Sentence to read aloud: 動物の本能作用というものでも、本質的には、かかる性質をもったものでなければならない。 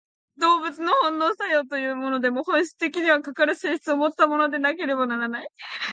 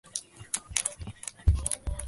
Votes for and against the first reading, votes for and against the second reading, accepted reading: 2, 0, 0, 2, first